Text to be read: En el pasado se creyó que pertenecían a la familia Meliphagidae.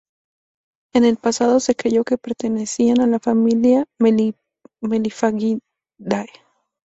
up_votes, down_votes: 2, 0